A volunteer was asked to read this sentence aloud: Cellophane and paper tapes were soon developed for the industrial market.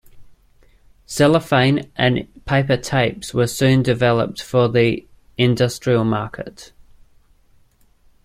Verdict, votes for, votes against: accepted, 2, 0